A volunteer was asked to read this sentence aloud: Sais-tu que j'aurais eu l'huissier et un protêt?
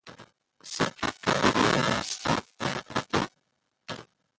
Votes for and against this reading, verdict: 0, 2, rejected